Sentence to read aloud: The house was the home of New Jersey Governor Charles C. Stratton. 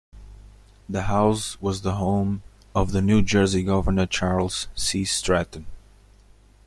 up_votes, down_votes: 1, 2